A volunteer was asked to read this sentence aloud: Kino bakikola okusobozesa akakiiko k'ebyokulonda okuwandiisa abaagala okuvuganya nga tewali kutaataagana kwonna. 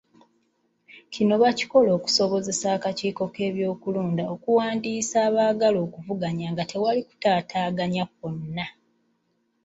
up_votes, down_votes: 2, 0